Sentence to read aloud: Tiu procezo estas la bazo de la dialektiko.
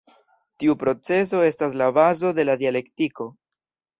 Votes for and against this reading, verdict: 2, 0, accepted